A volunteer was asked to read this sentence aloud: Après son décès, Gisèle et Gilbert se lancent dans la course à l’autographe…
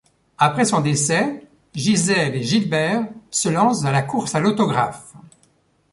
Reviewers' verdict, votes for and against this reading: accepted, 2, 0